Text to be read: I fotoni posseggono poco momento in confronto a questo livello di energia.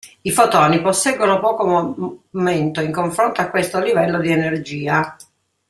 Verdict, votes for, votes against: rejected, 0, 2